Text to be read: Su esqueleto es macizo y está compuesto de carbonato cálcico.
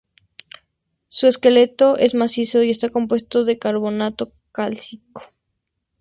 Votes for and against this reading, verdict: 0, 2, rejected